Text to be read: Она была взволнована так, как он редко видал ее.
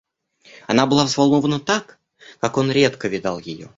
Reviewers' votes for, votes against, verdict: 2, 0, accepted